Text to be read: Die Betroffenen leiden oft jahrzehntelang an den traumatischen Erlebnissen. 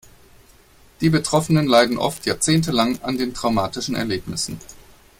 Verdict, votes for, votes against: accepted, 2, 0